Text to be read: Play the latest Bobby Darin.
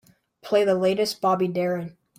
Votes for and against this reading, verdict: 2, 0, accepted